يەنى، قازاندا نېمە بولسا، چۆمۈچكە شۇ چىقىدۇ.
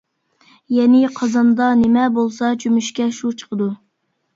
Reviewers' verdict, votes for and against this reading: accepted, 2, 0